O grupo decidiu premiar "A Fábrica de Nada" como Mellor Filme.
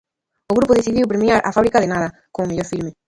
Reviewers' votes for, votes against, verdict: 0, 2, rejected